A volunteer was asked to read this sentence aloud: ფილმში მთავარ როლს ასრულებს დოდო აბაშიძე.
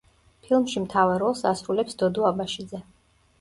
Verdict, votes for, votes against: accepted, 2, 0